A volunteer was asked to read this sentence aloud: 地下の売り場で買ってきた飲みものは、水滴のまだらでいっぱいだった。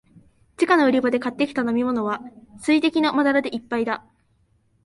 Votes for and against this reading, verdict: 0, 2, rejected